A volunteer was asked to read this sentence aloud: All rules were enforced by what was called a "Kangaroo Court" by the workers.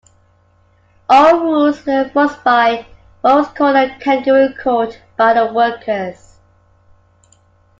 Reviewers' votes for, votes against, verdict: 1, 2, rejected